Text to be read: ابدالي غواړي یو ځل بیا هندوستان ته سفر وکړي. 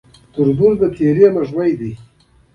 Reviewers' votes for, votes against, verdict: 1, 2, rejected